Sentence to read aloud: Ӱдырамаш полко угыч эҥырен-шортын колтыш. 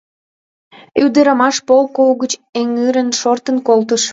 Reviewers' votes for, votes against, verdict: 0, 2, rejected